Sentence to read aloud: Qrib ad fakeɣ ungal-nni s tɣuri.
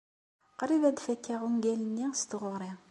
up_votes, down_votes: 2, 0